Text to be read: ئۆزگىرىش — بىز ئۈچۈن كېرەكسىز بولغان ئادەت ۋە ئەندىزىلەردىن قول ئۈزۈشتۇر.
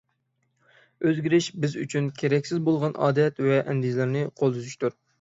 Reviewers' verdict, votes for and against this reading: rejected, 0, 6